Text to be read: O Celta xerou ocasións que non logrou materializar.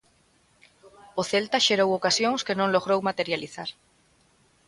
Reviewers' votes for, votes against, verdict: 2, 0, accepted